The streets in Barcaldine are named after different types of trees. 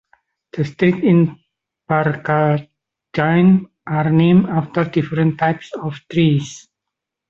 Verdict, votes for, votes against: rejected, 1, 2